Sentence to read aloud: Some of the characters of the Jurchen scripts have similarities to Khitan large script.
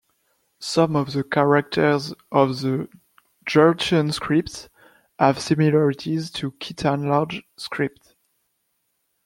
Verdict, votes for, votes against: rejected, 0, 2